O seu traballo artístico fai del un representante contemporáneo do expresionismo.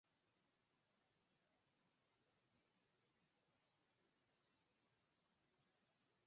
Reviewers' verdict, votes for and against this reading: rejected, 0, 4